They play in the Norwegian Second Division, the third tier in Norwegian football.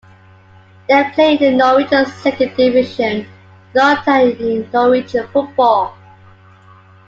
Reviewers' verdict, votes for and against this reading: rejected, 0, 2